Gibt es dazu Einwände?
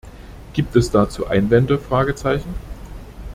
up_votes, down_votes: 1, 2